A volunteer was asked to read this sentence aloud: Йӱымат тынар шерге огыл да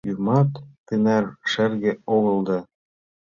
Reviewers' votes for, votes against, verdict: 2, 1, accepted